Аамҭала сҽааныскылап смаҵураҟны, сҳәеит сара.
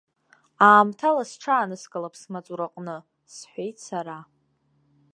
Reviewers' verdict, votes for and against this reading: accepted, 2, 0